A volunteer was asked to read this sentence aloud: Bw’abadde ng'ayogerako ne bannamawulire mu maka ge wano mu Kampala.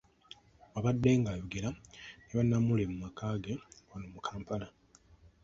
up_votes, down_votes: 1, 2